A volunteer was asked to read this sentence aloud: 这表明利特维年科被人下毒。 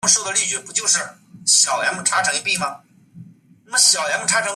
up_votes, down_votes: 0, 2